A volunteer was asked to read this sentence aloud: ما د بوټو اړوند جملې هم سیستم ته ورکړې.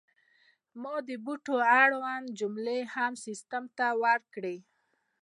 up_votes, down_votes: 2, 0